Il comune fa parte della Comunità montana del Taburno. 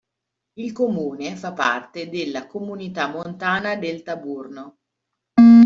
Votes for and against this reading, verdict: 2, 1, accepted